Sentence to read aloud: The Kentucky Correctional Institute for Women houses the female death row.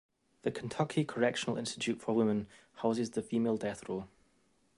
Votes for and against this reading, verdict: 2, 0, accepted